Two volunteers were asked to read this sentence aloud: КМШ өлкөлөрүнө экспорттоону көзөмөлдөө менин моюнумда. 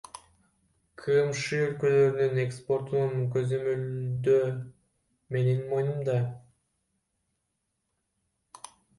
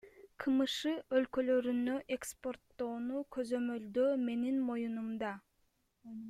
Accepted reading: second